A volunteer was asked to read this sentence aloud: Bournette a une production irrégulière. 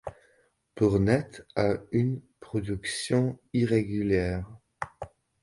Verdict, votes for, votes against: accepted, 2, 0